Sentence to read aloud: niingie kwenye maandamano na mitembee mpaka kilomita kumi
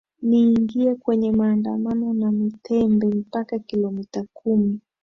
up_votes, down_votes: 4, 0